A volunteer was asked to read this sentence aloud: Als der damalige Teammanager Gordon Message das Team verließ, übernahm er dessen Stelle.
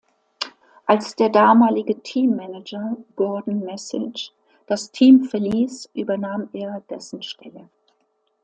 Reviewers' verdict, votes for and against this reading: accepted, 2, 0